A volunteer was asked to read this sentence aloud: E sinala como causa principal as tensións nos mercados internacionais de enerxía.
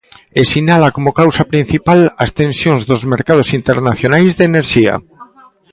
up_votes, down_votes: 0, 2